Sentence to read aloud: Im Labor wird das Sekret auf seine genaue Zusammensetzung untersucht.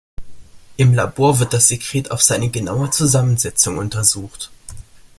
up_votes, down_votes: 2, 0